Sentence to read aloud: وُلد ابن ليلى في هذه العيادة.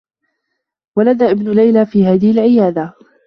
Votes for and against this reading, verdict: 1, 3, rejected